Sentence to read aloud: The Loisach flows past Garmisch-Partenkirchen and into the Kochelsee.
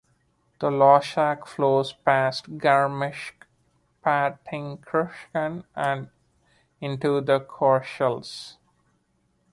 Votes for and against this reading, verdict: 1, 2, rejected